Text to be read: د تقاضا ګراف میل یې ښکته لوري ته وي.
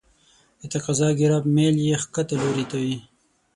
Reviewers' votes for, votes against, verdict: 0, 6, rejected